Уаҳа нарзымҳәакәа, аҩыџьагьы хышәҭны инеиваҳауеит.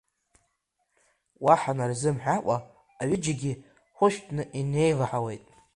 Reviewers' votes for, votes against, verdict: 1, 2, rejected